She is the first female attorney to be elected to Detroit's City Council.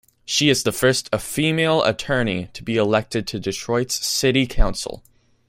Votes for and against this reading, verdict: 1, 2, rejected